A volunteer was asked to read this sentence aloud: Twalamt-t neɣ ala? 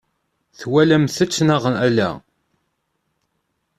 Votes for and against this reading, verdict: 1, 2, rejected